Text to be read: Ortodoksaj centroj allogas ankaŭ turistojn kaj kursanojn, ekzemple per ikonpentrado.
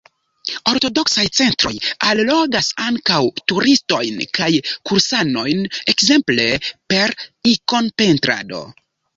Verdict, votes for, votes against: accepted, 2, 0